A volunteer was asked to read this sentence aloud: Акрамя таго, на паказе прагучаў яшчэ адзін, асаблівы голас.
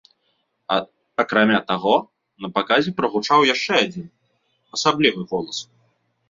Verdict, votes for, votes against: rejected, 0, 2